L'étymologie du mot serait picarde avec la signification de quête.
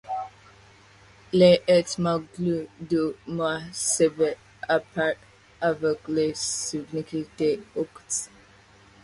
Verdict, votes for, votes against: accepted, 2, 1